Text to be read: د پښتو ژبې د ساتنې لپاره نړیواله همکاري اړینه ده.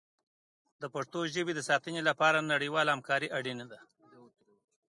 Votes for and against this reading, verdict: 2, 1, accepted